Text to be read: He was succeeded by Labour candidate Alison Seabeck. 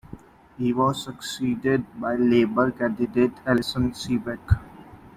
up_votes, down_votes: 2, 1